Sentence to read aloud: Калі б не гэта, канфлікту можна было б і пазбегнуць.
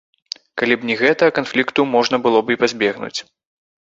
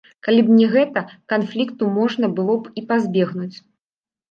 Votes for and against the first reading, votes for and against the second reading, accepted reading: 2, 1, 0, 2, first